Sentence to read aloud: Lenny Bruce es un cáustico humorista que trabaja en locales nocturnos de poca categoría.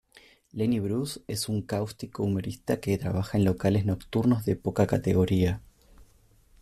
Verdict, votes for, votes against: accepted, 2, 0